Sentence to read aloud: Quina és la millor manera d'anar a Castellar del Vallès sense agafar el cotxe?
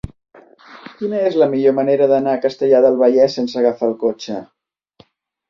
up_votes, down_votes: 3, 0